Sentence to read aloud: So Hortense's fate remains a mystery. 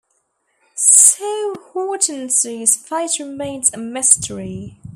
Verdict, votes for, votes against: accepted, 2, 0